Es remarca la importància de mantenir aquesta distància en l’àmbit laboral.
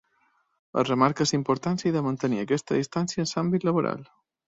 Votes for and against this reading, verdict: 2, 1, accepted